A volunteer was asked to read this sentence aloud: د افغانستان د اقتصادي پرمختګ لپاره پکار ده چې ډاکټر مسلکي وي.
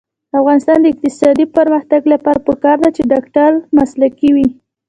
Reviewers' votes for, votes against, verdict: 2, 0, accepted